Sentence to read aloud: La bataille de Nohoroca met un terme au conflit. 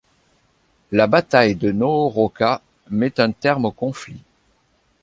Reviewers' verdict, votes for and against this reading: accepted, 2, 0